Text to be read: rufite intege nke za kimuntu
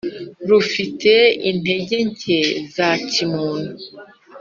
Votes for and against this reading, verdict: 2, 0, accepted